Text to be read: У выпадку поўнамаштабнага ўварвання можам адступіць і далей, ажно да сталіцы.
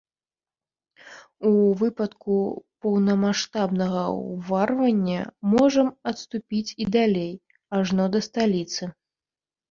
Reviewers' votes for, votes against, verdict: 0, 2, rejected